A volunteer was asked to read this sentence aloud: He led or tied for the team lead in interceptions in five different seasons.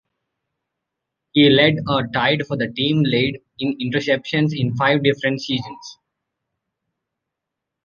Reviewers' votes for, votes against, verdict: 2, 0, accepted